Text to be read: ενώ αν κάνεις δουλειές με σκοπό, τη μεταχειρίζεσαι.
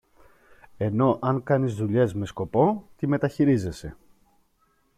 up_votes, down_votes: 2, 0